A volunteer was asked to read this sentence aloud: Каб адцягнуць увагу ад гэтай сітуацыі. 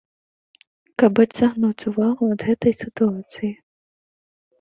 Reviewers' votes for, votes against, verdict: 2, 0, accepted